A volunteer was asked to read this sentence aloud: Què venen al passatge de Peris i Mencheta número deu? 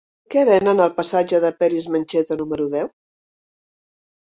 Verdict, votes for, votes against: rejected, 1, 2